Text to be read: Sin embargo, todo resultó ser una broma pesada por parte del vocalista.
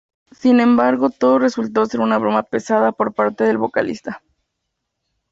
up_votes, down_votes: 2, 0